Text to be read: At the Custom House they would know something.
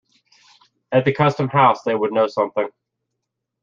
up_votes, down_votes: 2, 0